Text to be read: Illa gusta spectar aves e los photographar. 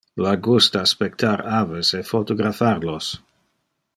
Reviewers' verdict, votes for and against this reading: rejected, 0, 2